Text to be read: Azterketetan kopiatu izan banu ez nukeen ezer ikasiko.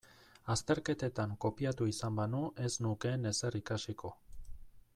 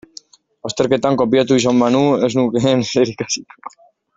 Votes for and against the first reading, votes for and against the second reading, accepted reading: 2, 0, 0, 2, first